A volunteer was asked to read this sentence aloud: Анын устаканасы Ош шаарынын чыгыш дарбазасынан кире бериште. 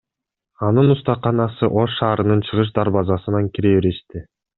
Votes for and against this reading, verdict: 2, 0, accepted